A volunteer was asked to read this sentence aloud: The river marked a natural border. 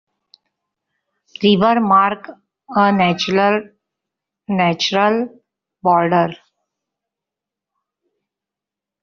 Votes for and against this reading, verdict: 0, 2, rejected